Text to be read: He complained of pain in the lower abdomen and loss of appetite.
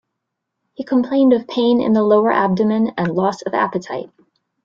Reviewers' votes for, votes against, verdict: 1, 2, rejected